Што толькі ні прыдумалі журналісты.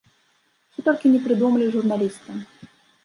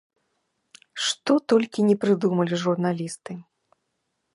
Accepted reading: second